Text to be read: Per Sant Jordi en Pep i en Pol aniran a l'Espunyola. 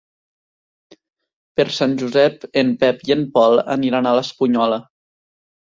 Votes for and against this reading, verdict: 0, 3, rejected